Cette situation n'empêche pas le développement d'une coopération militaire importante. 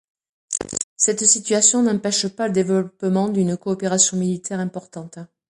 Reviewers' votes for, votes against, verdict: 2, 1, accepted